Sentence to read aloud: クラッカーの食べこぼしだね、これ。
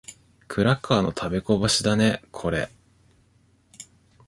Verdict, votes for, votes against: accepted, 2, 0